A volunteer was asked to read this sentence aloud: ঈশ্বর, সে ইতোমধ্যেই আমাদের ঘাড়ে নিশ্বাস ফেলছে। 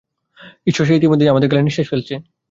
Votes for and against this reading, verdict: 2, 0, accepted